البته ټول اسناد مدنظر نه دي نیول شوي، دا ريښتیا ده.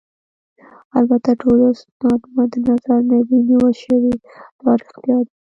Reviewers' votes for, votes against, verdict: 1, 2, rejected